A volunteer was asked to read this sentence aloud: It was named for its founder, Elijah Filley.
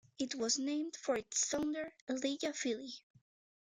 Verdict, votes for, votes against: accepted, 2, 0